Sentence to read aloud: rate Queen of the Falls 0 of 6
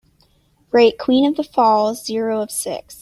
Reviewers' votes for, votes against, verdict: 0, 2, rejected